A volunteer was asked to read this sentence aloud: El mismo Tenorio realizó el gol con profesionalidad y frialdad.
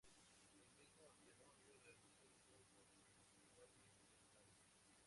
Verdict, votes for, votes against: rejected, 0, 2